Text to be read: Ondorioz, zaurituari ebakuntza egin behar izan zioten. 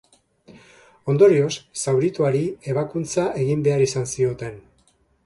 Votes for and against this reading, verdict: 2, 0, accepted